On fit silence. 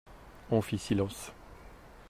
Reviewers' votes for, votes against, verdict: 2, 0, accepted